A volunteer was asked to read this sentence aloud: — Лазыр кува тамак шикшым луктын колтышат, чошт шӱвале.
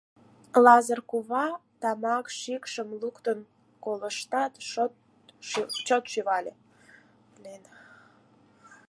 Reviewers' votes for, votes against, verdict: 0, 4, rejected